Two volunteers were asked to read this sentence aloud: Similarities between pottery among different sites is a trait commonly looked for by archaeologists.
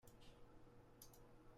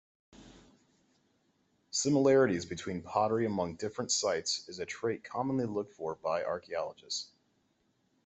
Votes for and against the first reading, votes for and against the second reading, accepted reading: 0, 2, 2, 0, second